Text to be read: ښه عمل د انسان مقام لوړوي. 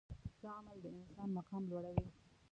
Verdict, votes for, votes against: rejected, 1, 2